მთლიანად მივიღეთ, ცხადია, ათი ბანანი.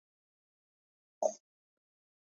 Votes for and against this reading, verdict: 1, 2, rejected